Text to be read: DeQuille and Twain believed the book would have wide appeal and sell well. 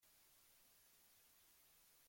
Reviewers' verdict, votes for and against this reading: rejected, 0, 2